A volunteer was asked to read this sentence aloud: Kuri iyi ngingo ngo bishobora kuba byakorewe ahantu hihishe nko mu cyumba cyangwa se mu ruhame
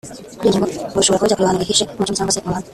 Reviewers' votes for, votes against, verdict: 0, 2, rejected